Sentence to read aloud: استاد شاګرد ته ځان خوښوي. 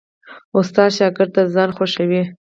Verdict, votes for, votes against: accepted, 4, 0